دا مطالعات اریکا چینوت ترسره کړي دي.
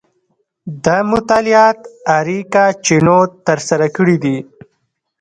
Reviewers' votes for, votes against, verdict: 2, 0, accepted